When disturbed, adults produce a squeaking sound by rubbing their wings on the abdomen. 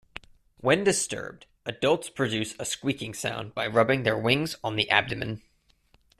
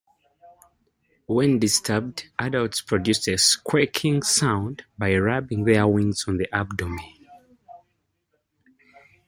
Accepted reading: second